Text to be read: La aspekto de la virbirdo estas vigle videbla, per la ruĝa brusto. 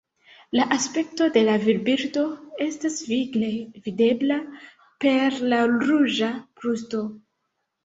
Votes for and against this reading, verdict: 2, 0, accepted